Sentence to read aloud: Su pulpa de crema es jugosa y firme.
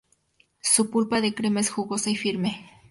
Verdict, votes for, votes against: accepted, 2, 0